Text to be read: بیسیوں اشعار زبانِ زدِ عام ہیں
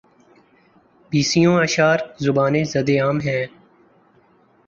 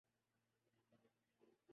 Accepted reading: first